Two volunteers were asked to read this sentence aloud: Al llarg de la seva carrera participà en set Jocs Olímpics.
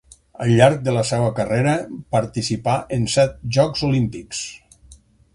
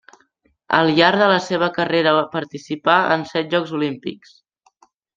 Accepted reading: first